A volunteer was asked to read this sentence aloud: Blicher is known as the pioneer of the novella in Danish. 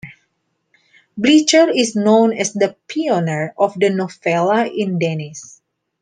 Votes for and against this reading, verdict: 0, 2, rejected